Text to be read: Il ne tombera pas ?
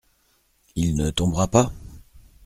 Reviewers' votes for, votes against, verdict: 2, 0, accepted